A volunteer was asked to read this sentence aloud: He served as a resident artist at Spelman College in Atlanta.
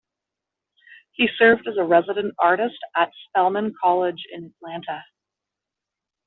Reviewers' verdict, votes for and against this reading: accepted, 2, 0